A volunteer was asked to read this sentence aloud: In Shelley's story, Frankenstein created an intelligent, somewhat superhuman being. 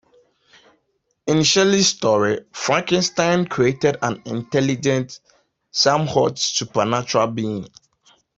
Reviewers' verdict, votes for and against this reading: rejected, 0, 2